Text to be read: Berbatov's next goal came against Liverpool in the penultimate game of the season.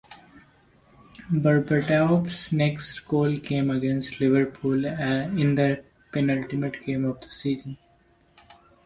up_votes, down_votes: 2, 0